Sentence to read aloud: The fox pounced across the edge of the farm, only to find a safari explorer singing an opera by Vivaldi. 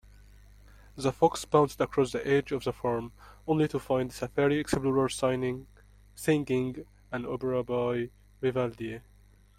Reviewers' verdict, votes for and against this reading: rejected, 0, 2